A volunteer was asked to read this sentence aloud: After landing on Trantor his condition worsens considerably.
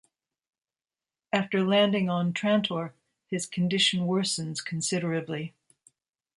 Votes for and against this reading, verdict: 2, 0, accepted